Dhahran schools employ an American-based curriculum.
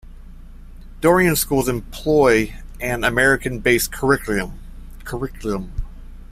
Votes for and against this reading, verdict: 2, 1, accepted